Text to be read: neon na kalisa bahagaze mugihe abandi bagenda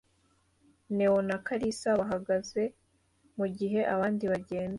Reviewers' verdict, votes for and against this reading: accepted, 2, 0